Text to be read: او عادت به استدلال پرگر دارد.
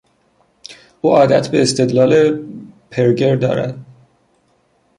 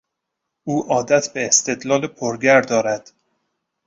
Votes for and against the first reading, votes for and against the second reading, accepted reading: 0, 2, 2, 0, second